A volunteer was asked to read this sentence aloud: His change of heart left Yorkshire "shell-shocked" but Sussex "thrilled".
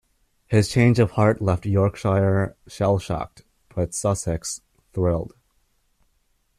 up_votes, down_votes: 2, 1